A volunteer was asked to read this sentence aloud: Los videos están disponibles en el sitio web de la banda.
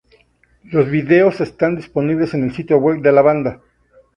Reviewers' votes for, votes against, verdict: 2, 0, accepted